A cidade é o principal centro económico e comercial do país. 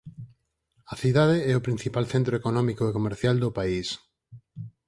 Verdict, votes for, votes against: accepted, 4, 0